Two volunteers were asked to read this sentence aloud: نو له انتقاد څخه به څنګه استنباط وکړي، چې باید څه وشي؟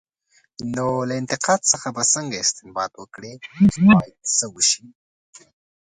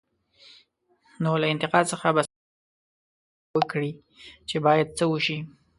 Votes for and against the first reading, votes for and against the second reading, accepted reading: 2, 1, 0, 2, first